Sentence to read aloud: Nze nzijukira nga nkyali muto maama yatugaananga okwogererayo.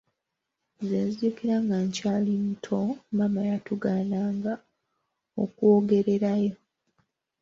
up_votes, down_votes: 2, 0